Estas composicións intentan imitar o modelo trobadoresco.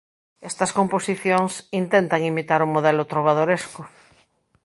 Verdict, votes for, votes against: accepted, 2, 0